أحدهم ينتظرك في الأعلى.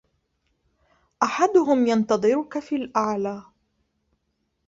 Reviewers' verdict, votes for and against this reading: rejected, 1, 2